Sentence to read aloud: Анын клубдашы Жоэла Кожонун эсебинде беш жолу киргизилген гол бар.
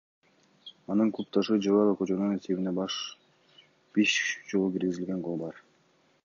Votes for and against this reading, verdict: 2, 0, accepted